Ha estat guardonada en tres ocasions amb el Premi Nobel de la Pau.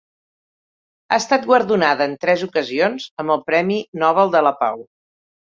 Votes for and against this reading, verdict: 1, 2, rejected